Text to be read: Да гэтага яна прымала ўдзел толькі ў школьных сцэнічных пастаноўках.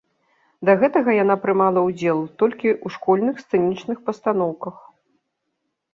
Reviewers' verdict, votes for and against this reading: accepted, 2, 0